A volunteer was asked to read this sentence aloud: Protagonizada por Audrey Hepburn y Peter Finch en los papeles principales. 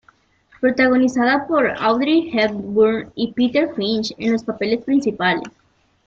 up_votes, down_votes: 2, 0